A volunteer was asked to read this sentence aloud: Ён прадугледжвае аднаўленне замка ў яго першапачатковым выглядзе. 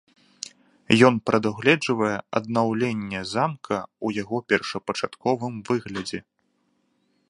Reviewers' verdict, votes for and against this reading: accepted, 2, 0